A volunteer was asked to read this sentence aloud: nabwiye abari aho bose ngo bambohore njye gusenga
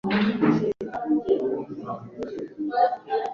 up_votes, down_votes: 0, 2